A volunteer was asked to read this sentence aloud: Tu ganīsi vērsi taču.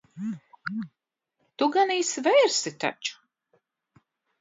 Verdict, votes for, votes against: accepted, 2, 0